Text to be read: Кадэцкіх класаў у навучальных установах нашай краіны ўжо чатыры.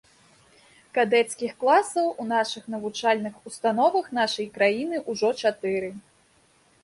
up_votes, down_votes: 1, 2